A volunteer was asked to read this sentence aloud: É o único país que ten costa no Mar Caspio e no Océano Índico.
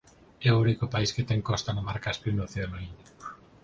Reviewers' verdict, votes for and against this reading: accepted, 4, 0